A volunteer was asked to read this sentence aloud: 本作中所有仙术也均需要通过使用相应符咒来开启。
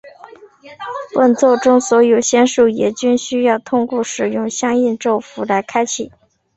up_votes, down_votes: 1, 2